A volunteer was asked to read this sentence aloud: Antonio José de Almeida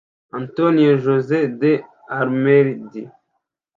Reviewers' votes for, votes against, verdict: 1, 2, rejected